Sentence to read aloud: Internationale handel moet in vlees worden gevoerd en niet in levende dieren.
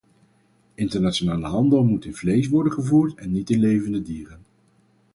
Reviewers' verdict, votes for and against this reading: accepted, 4, 0